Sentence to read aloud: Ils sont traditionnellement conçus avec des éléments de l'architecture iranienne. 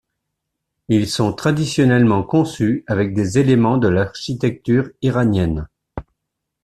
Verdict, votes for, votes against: accepted, 2, 0